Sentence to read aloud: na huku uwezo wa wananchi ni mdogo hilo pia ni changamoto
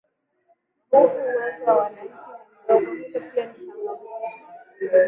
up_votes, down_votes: 7, 8